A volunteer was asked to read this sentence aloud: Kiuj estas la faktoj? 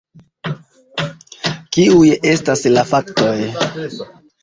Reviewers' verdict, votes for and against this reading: accepted, 2, 0